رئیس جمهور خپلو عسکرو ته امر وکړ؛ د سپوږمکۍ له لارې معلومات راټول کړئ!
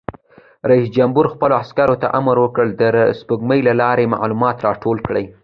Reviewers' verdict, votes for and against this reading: accepted, 2, 0